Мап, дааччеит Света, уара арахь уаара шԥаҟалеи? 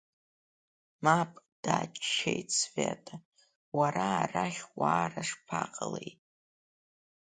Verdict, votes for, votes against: accepted, 2, 0